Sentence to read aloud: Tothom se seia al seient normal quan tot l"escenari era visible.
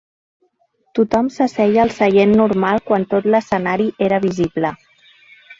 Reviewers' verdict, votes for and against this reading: rejected, 1, 2